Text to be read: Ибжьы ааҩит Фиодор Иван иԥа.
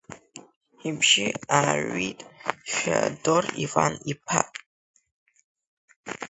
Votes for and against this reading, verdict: 1, 2, rejected